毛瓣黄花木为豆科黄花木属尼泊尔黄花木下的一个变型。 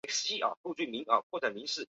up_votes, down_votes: 4, 1